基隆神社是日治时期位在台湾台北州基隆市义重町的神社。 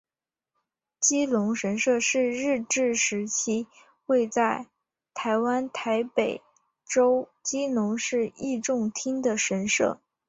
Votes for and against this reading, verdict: 2, 1, accepted